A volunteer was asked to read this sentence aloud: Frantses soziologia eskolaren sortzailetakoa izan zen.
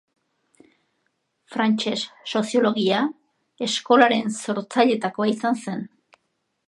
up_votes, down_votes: 0, 2